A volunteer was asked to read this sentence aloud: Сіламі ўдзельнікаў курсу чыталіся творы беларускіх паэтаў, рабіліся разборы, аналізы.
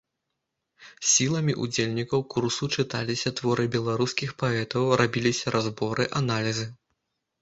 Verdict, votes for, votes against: accepted, 2, 0